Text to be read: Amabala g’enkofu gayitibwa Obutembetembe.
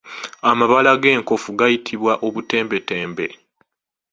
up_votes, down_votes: 2, 0